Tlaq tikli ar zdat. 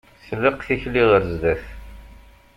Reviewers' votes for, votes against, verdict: 2, 0, accepted